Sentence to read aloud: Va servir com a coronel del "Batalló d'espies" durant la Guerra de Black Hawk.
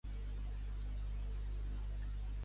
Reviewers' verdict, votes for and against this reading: rejected, 0, 2